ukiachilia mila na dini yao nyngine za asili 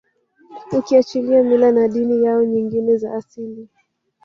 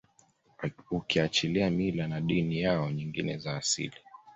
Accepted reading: second